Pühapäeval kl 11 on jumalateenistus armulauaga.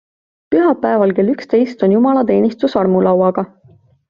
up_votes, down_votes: 0, 2